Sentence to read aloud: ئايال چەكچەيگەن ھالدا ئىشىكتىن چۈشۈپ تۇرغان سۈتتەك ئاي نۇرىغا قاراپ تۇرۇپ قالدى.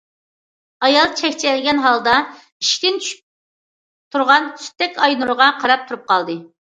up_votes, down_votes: 2, 0